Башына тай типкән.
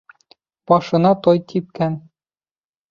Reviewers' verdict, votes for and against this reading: rejected, 1, 2